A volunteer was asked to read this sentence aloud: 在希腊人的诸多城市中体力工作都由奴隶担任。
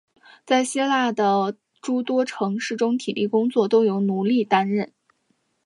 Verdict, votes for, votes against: accepted, 2, 1